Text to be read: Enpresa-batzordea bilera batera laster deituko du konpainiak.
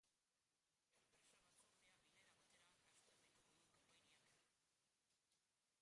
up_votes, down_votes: 0, 2